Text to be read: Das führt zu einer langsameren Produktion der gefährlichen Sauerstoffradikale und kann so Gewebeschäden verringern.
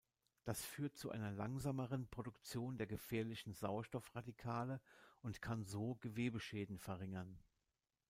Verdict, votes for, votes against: accepted, 2, 0